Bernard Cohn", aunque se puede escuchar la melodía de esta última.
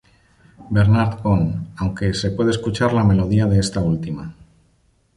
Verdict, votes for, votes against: accepted, 2, 0